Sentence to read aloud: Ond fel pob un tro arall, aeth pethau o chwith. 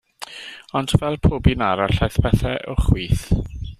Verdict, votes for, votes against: rejected, 1, 2